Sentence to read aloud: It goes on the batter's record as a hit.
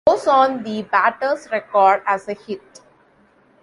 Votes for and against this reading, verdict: 1, 2, rejected